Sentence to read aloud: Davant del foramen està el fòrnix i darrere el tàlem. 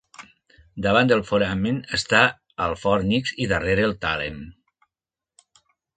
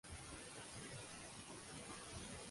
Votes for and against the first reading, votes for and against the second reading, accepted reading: 2, 0, 0, 2, first